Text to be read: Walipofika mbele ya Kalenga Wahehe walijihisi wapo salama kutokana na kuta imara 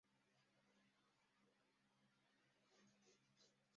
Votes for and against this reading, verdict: 0, 2, rejected